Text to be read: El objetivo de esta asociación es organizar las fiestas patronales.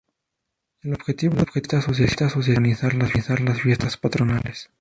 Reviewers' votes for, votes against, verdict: 0, 2, rejected